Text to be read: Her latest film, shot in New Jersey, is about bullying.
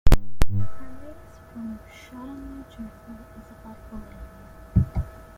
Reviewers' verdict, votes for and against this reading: rejected, 0, 2